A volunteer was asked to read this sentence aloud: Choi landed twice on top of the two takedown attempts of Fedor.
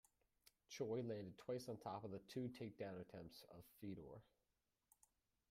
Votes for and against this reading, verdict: 2, 1, accepted